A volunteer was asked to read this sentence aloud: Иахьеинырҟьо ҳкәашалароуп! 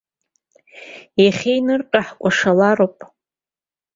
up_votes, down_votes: 2, 0